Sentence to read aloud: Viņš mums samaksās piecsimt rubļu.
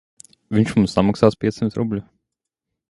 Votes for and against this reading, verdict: 0, 2, rejected